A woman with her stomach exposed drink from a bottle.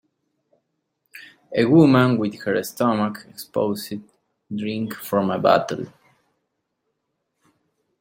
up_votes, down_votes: 2, 0